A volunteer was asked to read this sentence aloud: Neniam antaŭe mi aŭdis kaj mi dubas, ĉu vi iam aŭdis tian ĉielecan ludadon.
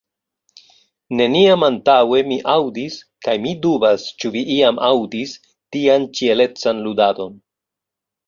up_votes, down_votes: 2, 0